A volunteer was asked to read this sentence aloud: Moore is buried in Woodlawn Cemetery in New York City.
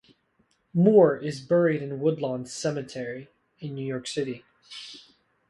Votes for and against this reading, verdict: 2, 0, accepted